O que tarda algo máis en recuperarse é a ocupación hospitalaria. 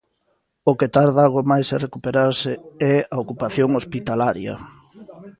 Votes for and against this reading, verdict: 0, 2, rejected